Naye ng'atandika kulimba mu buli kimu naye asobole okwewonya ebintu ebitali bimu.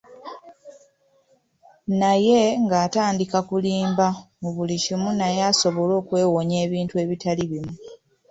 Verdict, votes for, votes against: rejected, 0, 2